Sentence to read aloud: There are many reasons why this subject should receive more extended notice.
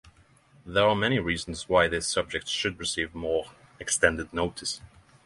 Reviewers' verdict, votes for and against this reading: accepted, 6, 0